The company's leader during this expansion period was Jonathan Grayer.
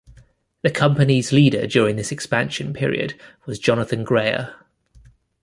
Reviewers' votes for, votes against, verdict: 2, 0, accepted